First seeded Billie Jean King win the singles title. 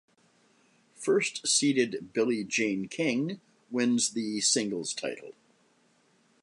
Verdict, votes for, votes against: rejected, 1, 2